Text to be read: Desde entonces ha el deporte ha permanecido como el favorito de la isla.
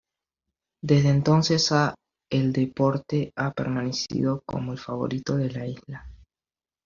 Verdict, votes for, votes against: accepted, 2, 0